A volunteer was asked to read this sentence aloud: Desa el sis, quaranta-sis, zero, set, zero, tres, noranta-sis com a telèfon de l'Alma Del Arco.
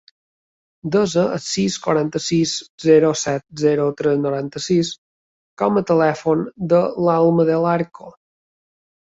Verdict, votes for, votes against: accepted, 5, 0